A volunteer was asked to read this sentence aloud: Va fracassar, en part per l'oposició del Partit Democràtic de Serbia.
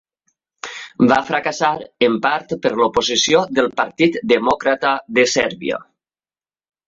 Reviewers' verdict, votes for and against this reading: rejected, 0, 2